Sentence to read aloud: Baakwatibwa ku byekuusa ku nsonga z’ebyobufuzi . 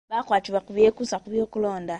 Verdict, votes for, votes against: rejected, 0, 2